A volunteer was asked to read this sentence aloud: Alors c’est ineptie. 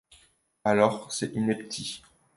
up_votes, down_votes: 0, 2